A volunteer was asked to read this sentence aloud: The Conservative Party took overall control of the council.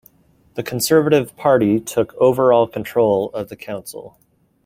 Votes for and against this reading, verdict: 2, 0, accepted